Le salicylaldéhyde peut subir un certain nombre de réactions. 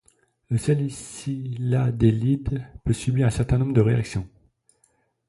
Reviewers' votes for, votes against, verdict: 0, 2, rejected